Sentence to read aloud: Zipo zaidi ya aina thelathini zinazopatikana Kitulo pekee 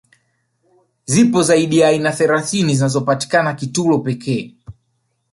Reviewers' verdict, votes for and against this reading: rejected, 1, 2